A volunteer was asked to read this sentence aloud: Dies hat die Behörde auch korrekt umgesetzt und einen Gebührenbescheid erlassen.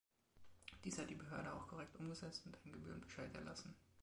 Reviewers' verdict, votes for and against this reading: rejected, 0, 2